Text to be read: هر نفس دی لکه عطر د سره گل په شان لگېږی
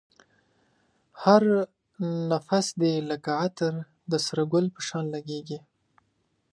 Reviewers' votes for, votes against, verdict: 2, 0, accepted